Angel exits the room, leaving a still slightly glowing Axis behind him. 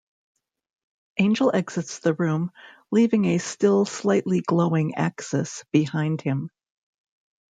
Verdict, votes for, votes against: rejected, 1, 2